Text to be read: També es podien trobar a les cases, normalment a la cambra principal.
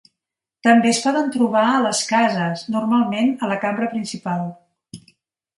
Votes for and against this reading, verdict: 1, 2, rejected